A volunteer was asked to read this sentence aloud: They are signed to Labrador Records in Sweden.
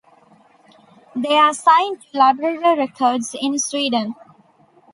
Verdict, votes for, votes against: accepted, 2, 1